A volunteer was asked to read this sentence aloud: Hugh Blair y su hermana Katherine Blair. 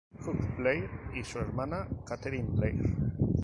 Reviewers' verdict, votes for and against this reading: accepted, 4, 2